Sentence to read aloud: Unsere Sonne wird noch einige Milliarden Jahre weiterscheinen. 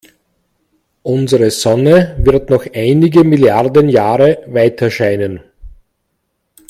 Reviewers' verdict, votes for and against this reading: accepted, 2, 0